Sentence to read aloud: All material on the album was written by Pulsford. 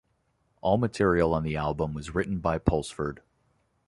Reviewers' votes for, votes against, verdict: 2, 0, accepted